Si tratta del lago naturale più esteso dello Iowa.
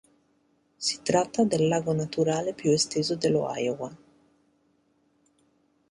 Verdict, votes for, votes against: accepted, 2, 1